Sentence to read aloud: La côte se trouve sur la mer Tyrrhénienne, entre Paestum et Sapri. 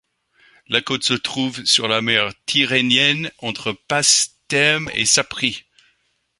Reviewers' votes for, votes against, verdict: 0, 2, rejected